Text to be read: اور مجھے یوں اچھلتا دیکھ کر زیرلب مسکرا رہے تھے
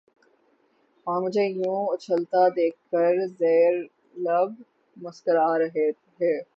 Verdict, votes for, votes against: rejected, 0, 3